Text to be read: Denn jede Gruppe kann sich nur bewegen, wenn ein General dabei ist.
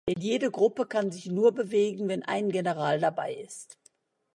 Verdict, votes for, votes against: rejected, 1, 2